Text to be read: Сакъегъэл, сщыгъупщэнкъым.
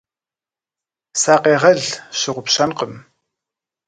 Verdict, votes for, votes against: accepted, 2, 0